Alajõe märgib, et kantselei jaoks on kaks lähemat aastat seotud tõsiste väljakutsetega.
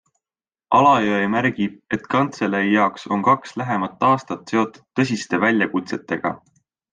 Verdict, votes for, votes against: accepted, 2, 0